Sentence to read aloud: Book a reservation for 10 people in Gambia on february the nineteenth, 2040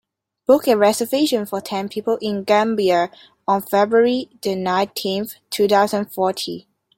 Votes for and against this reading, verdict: 0, 2, rejected